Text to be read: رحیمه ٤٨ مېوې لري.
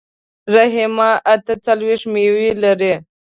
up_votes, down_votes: 0, 2